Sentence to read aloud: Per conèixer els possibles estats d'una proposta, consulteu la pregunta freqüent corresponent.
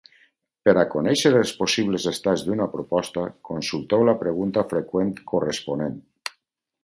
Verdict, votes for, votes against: rejected, 2, 4